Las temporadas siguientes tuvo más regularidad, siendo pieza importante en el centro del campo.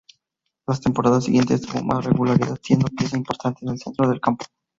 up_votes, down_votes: 2, 2